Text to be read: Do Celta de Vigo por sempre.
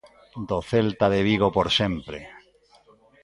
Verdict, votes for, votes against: accepted, 2, 0